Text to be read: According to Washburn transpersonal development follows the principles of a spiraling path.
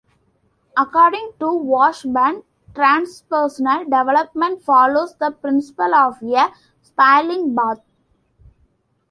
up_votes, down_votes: 0, 2